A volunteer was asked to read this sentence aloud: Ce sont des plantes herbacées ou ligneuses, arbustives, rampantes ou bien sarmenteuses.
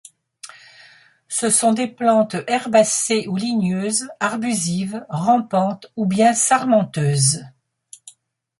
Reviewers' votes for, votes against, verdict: 1, 2, rejected